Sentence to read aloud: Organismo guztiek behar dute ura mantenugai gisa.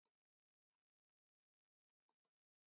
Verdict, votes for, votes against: rejected, 0, 2